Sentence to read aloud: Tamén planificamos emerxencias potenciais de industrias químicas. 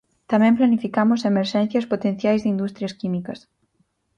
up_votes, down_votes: 4, 0